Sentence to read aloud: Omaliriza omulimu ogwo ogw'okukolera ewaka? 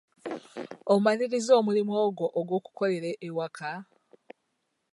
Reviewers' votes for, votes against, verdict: 2, 0, accepted